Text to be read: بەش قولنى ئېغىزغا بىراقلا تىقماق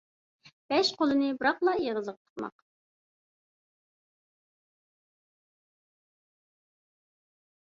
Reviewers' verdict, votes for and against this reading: rejected, 0, 2